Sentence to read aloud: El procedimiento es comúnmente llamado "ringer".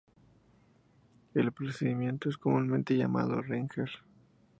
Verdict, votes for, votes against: accepted, 4, 0